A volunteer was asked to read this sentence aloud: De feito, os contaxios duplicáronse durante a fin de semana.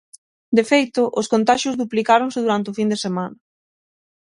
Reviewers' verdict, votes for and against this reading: rejected, 3, 6